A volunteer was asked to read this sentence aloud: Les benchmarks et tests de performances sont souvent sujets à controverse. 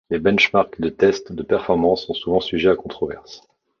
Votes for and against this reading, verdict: 0, 2, rejected